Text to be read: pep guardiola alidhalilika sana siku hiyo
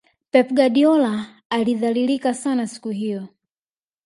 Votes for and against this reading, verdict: 0, 2, rejected